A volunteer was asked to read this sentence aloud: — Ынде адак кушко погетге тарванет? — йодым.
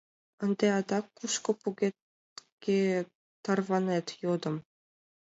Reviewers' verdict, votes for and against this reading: rejected, 1, 2